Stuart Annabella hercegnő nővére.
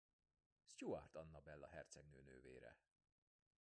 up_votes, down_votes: 1, 2